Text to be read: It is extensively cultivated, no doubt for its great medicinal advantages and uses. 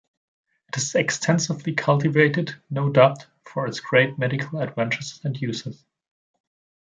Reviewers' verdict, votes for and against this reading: rejected, 1, 2